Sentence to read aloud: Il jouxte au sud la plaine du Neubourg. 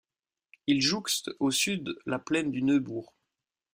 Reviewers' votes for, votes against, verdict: 2, 0, accepted